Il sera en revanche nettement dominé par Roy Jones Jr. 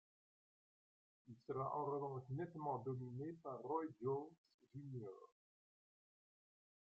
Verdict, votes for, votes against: rejected, 0, 2